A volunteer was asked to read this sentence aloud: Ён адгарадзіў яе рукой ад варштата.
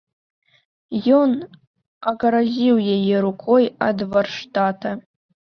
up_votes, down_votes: 1, 2